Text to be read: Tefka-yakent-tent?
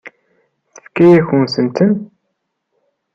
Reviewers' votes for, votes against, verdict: 1, 2, rejected